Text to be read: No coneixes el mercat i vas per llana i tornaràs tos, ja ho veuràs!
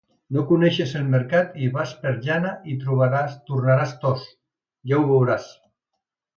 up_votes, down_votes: 0, 2